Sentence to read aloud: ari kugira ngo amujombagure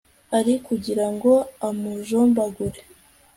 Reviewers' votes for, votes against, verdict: 2, 0, accepted